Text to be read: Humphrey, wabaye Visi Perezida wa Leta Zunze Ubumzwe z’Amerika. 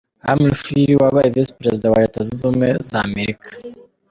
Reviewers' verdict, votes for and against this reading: accepted, 2, 1